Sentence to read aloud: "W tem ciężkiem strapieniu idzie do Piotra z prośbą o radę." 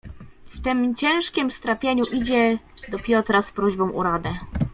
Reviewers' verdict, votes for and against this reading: rejected, 1, 2